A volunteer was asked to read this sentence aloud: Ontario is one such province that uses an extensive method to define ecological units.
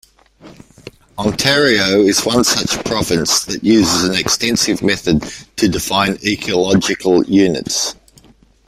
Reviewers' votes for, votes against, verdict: 2, 0, accepted